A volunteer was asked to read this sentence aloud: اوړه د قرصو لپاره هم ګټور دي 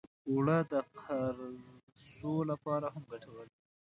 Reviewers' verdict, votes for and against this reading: rejected, 0, 2